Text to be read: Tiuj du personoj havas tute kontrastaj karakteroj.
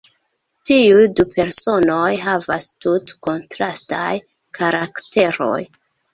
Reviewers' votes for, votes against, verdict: 0, 2, rejected